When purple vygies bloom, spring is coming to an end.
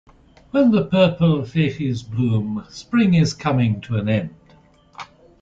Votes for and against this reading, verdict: 2, 0, accepted